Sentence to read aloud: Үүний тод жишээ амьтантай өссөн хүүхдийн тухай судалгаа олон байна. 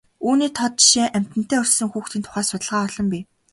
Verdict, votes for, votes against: accepted, 2, 0